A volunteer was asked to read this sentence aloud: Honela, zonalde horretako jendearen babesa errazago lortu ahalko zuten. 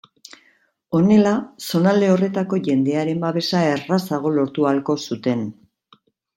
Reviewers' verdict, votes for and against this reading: accepted, 2, 0